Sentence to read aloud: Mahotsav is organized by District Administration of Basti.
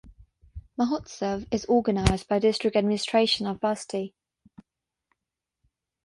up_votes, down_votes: 6, 0